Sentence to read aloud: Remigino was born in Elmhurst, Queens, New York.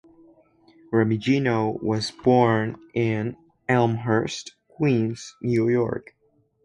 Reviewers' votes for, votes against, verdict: 2, 0, accepted